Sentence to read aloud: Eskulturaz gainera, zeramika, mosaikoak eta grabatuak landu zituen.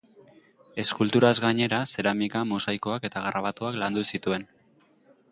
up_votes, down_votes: 2, 0